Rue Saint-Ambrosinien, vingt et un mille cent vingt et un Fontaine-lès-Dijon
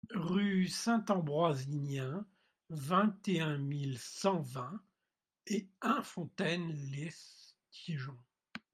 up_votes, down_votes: 2, 0